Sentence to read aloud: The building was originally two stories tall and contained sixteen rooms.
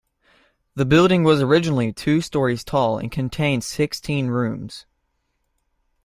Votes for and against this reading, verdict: 2, 0, accepted